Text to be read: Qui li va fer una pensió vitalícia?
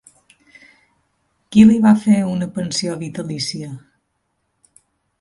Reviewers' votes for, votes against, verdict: 2, 0, accepted